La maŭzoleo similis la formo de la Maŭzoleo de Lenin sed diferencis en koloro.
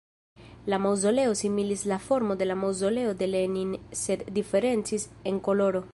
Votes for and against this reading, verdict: 1, 2, rejected